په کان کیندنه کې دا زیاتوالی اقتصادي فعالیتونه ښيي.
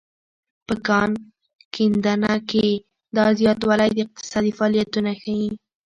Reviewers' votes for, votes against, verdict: 1, 2, rejected